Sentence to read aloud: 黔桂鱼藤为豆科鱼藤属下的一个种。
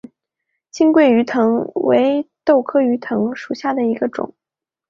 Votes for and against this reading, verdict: 4, 2, accepted